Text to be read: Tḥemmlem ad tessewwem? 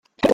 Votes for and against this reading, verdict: 0, 2, rejected